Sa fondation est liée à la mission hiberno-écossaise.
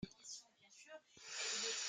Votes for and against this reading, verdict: 0, 2, rejected